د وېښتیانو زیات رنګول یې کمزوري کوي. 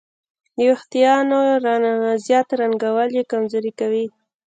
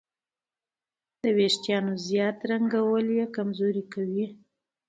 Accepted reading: second